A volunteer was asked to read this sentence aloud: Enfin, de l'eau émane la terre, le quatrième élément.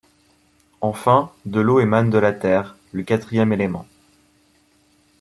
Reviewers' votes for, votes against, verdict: 1, 2, rejected